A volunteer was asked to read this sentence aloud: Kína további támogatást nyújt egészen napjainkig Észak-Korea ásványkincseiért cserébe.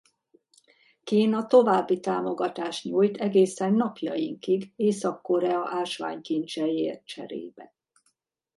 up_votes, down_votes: 2, 0